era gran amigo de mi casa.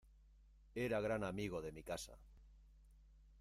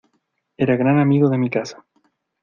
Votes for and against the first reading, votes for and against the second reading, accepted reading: 1, 2, 2, 1, second